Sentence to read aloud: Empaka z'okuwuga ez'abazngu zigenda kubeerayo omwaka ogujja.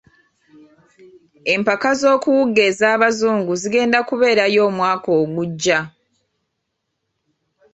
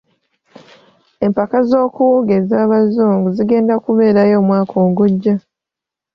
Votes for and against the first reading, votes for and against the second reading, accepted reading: 1, 2, 2, 0, second